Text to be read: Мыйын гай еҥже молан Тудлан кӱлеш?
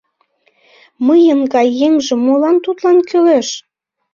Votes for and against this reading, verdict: 2, 0, accepted